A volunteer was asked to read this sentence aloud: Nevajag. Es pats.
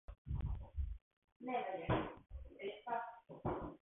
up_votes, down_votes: 0, 4